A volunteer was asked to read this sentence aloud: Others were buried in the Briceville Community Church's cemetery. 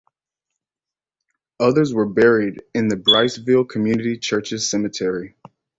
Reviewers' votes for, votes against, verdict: 2, 0, accepted